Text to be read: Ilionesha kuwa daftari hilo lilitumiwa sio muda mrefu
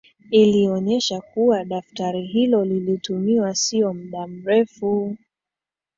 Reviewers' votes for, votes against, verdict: 2, 1, accepted